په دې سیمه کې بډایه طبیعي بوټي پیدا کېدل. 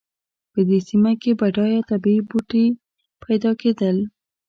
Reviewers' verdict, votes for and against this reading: rejected, 0, 2